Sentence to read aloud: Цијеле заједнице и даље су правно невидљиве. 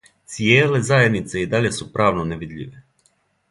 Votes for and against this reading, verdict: 2, 0, accepted